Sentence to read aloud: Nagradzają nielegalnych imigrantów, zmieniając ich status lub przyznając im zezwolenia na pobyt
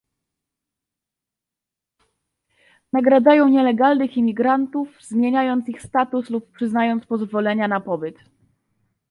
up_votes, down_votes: 1, 2